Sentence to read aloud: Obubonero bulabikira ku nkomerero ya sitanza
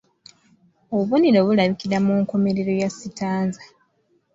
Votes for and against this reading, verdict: 2, 0, accepted